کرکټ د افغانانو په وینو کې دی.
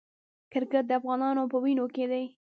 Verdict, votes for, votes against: rejected, 1, 2